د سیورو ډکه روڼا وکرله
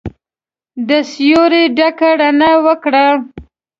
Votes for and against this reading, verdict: 0, 2, rejected